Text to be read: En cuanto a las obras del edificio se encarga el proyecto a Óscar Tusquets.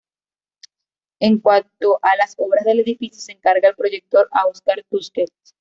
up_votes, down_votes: 1, 2